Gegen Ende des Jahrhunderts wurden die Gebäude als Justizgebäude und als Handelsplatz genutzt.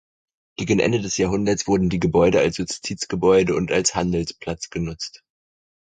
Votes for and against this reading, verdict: 4, 0, accepted